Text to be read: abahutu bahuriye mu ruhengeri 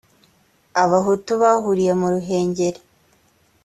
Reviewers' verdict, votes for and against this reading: accepted, 2, 0